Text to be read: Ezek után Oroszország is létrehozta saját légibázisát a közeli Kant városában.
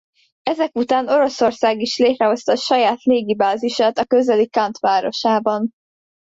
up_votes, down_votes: 2, 0